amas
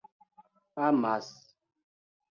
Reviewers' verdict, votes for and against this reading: accepted, 2, 0